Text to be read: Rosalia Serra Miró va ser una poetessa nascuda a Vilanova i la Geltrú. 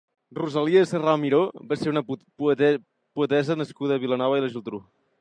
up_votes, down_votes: 0, 2